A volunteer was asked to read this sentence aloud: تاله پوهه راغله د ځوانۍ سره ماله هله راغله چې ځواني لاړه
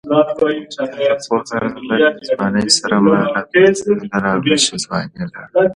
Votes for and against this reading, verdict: 1, 2, rejected